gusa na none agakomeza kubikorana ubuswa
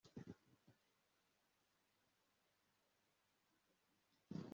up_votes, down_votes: 1, 2